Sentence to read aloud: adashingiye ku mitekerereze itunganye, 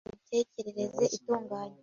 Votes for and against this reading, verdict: 0, 2, rejected